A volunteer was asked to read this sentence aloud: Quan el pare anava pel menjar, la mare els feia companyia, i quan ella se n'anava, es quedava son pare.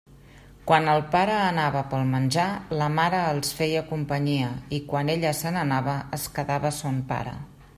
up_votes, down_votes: 3, 0